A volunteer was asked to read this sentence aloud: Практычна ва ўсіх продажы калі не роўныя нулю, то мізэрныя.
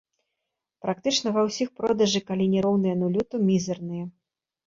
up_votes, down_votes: 1, 2